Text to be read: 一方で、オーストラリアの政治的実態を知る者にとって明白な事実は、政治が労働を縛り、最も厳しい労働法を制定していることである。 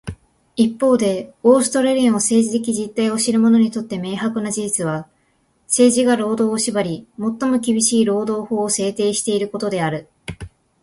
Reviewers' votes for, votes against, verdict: 2, 0, accepted